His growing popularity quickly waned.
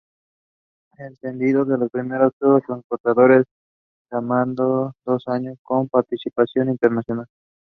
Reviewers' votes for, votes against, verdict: 0, 2, rejected